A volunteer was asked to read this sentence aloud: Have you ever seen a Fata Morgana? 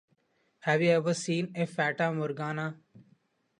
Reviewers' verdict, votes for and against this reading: accepted, 2, 0